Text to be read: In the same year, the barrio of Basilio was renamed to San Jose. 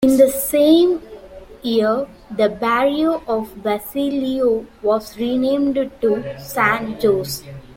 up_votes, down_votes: 1, 2